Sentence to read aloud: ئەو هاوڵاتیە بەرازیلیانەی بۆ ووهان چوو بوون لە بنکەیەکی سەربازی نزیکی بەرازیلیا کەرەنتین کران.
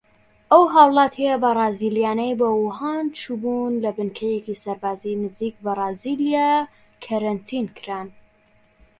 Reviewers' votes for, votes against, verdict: 1, 2, rejected